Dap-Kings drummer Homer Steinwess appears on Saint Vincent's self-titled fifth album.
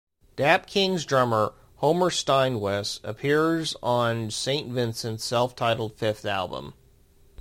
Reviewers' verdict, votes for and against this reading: accepted, 2, 1